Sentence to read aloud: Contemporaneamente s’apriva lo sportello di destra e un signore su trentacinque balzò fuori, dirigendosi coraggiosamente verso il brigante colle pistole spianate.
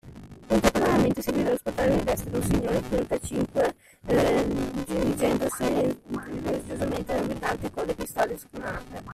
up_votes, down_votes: 0, 2